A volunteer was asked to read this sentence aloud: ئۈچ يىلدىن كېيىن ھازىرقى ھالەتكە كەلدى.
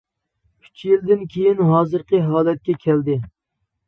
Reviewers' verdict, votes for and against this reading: accepted, 2, 0